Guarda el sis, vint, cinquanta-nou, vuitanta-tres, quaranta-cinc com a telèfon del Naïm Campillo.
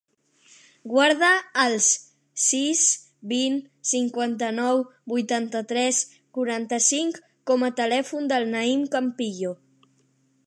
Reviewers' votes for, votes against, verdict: 3, 0, accepted